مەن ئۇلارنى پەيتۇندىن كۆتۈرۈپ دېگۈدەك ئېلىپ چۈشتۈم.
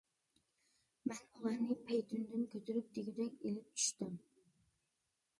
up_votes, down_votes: 0, 2